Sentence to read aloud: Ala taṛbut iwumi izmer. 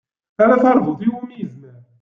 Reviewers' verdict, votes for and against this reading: rejected, 1, 2